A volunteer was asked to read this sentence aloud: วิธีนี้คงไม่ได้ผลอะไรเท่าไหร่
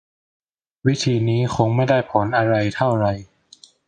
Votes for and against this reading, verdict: 0, 2, rejected